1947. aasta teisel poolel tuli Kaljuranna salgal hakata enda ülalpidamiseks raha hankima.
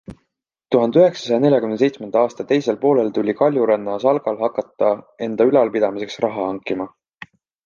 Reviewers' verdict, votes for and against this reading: rejected, 0, 2